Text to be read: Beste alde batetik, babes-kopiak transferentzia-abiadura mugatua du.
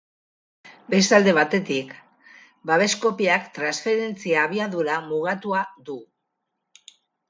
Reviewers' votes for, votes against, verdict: 4, 0, accepted